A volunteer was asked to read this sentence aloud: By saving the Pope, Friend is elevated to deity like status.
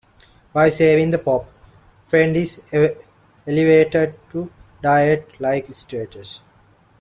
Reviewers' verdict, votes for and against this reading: rejected, 0, 2